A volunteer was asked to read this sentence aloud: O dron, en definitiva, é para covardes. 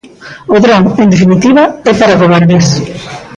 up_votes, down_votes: 0, 2